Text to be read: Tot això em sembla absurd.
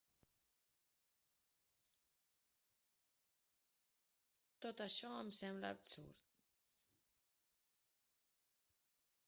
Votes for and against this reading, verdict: 0, 2, rejected